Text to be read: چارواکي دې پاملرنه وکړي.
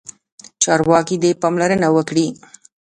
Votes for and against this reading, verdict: 0, 2, rejected